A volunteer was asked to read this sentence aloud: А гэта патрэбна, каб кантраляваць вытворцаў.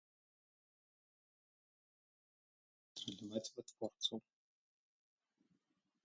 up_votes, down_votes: 0, 2